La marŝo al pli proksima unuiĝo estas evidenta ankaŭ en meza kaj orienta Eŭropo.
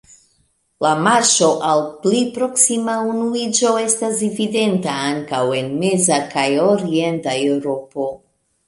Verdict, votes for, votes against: accepted, 2, 1